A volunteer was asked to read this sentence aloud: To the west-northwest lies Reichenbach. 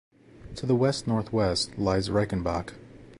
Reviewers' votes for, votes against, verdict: 2, 0, accepted